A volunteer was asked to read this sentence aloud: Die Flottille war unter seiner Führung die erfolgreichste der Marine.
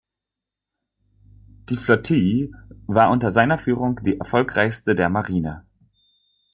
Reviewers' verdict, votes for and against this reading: rejected, 0, 2